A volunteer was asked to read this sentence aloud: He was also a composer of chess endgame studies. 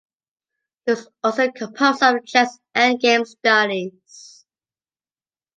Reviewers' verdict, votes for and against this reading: rejected, 0, 2